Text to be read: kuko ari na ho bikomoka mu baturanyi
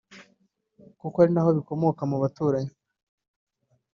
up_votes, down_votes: 2, 1